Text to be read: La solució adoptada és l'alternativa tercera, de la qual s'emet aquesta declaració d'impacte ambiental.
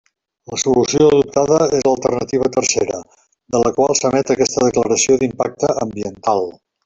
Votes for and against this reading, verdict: 3, 1, accepted